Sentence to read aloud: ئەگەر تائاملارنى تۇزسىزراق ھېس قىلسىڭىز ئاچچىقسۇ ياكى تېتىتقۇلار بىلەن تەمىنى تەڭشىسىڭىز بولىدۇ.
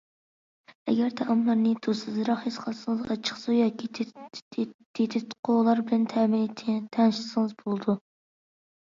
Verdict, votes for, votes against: rejected, 0, 2